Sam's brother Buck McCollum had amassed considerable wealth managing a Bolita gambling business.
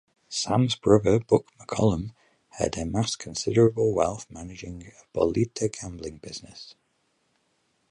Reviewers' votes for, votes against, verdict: 4, 8, rejected